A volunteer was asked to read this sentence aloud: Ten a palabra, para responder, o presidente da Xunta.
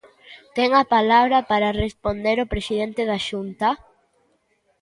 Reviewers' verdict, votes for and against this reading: accepted, 2, 0